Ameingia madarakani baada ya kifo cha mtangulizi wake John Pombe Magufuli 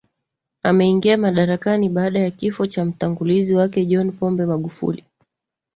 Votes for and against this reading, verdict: 2, 1, accepted